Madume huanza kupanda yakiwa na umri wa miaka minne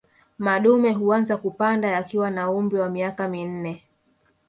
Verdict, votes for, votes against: rejected, 0, 2